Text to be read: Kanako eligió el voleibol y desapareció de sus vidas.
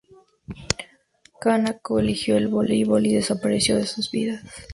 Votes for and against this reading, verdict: 2, 0, accepted